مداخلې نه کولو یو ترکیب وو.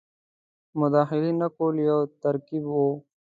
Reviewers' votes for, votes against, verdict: 2, 0, accepted